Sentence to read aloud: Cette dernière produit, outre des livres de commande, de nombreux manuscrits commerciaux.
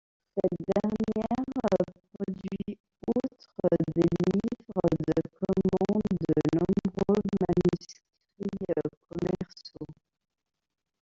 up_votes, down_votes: 0, 2